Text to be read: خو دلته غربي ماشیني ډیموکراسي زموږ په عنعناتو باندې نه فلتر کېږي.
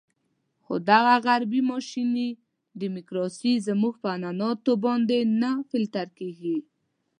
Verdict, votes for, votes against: rejected, 1, 2